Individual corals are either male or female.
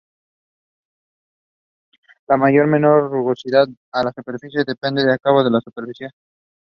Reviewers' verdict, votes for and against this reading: rejected, 1, 2